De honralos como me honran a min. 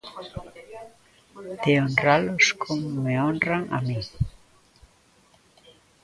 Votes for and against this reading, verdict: 1, 2, rejected